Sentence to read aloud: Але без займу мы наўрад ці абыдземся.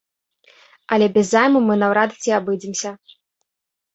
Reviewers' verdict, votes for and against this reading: accepted, 2, 0